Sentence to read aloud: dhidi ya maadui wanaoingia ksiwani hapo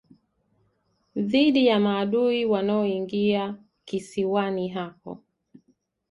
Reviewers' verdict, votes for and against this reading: accepted, 2, 0